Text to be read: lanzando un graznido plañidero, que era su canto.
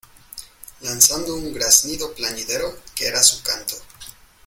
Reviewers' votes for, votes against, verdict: 2, 0, accepted